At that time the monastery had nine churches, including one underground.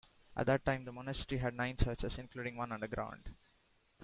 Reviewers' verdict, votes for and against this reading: accepted, 2, 0